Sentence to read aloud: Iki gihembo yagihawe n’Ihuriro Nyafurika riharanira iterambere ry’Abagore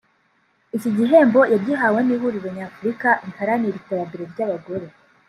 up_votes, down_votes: 2, 0